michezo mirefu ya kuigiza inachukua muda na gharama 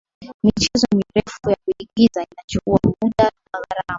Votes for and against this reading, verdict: 0, 2, rejected